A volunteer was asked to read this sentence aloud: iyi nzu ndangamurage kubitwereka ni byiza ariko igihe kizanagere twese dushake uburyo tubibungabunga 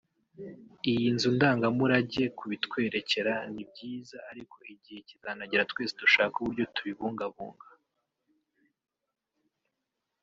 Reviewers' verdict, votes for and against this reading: rejected, 0, 2